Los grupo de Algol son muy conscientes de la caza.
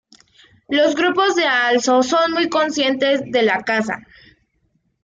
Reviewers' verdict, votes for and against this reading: rejected, 0, 2